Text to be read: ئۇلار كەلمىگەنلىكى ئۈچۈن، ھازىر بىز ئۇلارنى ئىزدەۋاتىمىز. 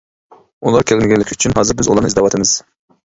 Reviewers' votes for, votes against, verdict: 1, 2, rejected